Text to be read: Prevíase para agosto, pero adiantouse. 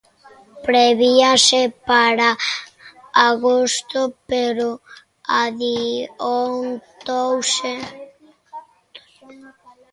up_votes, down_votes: 0, 2